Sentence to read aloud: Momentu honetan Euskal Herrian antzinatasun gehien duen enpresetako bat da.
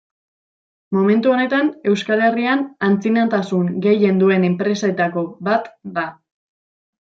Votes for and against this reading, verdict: 2, 0, accepted